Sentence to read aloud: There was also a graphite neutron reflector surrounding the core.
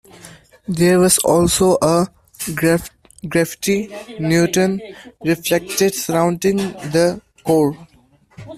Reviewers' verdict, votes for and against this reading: rejected, 0, 2